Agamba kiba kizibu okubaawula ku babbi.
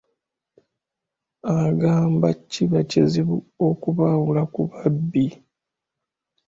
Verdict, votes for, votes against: accepted, 2, 0